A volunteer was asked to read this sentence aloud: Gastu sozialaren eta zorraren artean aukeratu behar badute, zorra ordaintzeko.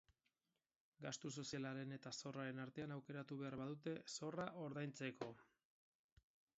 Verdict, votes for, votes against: accepted, 4, 0